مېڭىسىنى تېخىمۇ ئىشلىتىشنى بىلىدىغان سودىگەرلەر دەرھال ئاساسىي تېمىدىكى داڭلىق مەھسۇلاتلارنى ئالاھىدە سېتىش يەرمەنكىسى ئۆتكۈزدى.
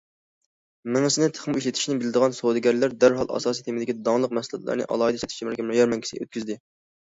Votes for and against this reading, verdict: 1, 2, rejected